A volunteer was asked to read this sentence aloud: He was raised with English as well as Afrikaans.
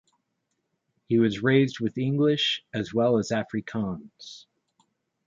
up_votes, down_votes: 2, 0